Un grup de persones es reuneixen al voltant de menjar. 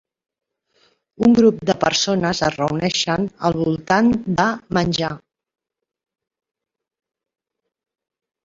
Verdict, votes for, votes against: rejected, 0, 2